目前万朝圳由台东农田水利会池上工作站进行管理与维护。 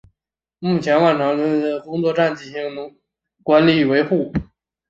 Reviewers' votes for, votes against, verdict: 0, 2, rejected